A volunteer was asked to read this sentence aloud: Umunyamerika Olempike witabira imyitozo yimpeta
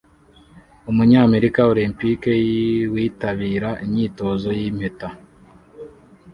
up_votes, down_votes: 0, 2